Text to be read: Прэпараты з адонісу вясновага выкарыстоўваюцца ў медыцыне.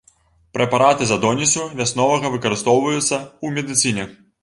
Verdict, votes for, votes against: rejected, 0, 2